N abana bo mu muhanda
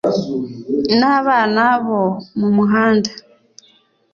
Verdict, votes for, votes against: accepted, 2, 0